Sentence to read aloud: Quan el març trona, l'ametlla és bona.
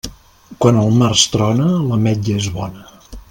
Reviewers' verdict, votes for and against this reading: accepted, 2, 0